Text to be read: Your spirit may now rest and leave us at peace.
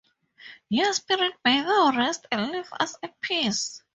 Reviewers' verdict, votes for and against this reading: rejected, 2, 2